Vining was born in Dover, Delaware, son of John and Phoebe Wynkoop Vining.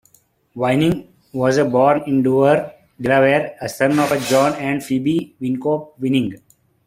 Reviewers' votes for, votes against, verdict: 1, 2, rejected